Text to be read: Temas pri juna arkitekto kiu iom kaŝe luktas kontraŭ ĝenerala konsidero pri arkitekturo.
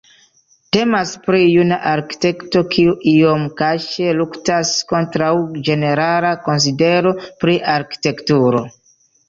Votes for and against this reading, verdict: 2, 1, accepted